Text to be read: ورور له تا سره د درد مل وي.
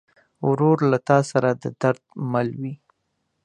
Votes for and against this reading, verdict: 2, 0, accepted